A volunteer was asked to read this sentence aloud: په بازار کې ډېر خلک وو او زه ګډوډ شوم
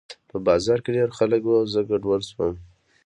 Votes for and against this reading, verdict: 2, 1, accepted